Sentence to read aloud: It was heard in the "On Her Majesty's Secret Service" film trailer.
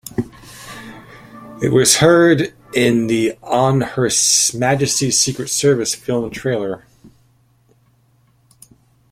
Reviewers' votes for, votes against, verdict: 0, 2, rejected